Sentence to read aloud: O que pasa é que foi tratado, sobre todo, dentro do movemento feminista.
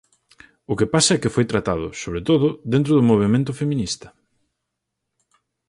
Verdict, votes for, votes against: accepted, 4, 0